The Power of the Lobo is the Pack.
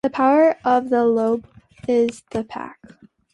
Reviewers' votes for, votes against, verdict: 2, 0, accepted